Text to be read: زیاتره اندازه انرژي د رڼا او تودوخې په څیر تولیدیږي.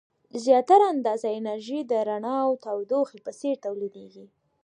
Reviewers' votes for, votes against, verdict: 2, 0, accepted